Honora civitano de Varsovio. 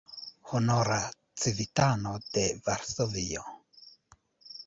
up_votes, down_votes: 0, 2